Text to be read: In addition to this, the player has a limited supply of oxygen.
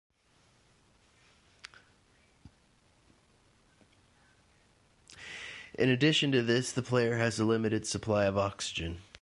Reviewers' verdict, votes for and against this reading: rejected, 0, 2